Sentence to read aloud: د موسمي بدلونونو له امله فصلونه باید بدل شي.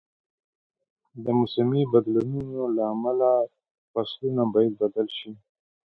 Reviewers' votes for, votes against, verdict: 2, 0, accepted